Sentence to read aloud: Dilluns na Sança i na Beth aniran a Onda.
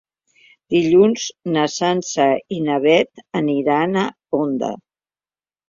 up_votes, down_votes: 3, 0